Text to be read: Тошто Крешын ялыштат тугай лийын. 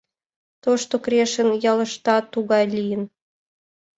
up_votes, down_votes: 2, 0